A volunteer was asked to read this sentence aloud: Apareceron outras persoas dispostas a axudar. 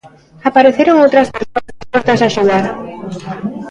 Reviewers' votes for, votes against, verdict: 0, 2, rejected